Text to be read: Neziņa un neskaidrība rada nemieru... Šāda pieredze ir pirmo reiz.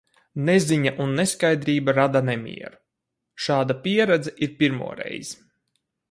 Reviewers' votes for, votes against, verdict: 4, 0, accepted